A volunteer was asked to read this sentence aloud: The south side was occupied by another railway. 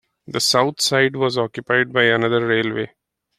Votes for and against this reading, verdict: 3, 0, accepted